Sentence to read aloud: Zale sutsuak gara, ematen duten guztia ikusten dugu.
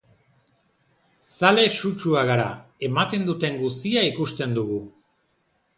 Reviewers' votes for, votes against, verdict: 2, 0, accepted